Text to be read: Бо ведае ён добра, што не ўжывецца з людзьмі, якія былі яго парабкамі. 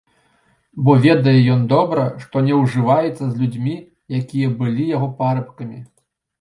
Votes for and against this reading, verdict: 2, 0, accepted